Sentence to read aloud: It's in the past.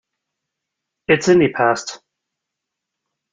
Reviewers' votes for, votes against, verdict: 2, 0, accepted